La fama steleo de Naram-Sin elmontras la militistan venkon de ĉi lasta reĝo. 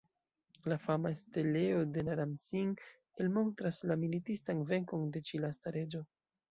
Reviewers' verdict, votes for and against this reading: accepted, 2, 0